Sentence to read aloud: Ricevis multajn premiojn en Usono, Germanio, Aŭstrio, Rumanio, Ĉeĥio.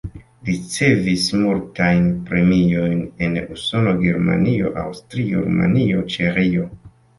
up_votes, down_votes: 2, 1